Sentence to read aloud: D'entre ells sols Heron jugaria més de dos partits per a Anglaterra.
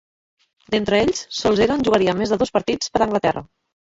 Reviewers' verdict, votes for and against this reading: rejected, 1, 2